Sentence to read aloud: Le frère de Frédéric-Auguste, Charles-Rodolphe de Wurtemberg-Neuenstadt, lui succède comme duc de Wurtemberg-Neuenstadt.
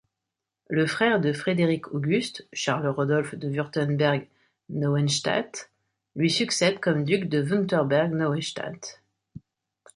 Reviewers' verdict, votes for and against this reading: accepted, 2, 0